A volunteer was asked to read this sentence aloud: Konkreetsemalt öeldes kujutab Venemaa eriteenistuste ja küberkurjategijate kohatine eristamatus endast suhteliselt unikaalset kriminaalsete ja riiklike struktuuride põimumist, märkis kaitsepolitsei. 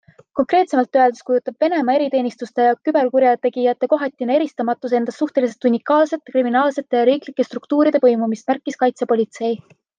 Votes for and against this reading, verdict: 2, 0, accepted